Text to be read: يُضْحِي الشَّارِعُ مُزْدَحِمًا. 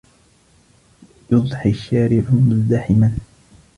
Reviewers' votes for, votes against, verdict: 2, 1, accepted